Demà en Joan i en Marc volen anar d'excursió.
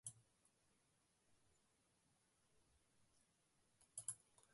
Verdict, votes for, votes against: rejected, 0, 2